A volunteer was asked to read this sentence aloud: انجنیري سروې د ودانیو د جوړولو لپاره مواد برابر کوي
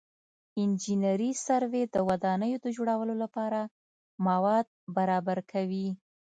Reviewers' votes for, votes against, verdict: 2, 0, accepted